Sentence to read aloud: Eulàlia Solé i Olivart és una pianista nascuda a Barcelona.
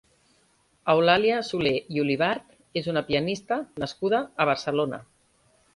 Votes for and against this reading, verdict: 2, 0, accepted